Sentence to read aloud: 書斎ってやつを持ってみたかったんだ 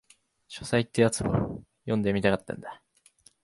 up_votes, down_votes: 1, 2